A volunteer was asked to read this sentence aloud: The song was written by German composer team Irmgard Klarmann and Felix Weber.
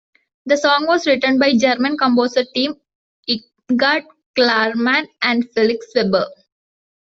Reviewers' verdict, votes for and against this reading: rejected, 0, 2